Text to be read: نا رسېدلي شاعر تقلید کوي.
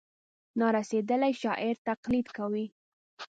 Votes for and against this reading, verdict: 2, 0, accepted